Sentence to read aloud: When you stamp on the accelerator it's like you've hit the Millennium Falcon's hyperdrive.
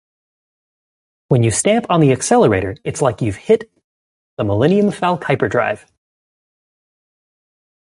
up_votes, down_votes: 0, 2